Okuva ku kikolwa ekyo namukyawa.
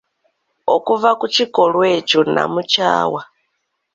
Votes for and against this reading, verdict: 2, 0, accepted